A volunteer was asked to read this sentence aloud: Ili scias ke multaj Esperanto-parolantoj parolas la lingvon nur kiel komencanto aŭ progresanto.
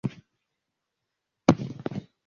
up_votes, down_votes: 0, 2